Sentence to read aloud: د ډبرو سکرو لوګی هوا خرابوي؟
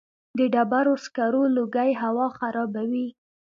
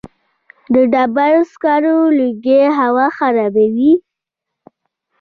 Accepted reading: first